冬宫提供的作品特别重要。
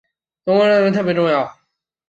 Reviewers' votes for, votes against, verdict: 1, 2, rejected